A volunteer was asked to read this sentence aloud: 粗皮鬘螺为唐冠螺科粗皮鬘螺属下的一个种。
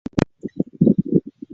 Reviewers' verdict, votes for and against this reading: rejected, 1, 2